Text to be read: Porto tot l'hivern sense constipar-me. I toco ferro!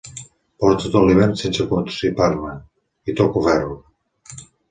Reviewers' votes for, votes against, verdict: 2, 0, accepted